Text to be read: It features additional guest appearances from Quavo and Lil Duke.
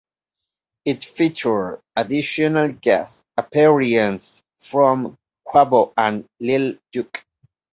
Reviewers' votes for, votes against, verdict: 0, 2, rejected